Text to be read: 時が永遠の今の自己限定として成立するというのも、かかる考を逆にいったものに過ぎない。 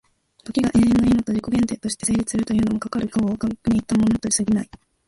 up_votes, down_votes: 0, 3